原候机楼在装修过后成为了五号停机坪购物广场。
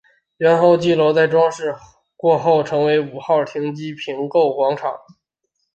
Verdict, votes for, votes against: rejected, 1, 5